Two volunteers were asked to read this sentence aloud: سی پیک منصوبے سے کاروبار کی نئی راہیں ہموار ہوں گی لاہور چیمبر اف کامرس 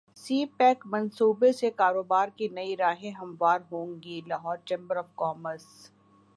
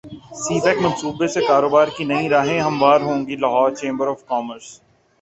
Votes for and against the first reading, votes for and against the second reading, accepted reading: 2, 1, 1, 2, first